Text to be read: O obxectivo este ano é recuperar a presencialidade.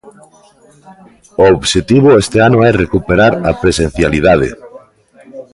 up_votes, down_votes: 2, 0